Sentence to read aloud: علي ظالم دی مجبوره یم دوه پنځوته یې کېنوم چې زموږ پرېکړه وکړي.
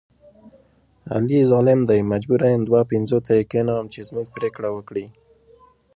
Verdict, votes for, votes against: accepted, 2, 0